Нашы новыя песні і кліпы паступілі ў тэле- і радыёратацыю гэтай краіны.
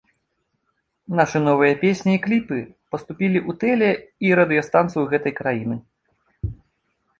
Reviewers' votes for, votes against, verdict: 0, 2, rejected